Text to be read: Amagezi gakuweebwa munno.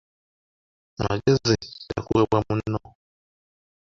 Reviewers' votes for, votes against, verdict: 0, 2, rejected